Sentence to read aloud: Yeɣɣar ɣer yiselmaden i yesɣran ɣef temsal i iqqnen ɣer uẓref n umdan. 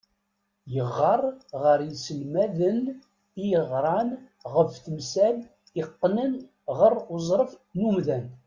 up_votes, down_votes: 1, 2